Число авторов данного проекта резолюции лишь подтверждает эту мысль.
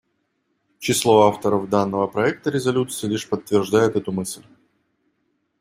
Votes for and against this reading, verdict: 2, 0, accepted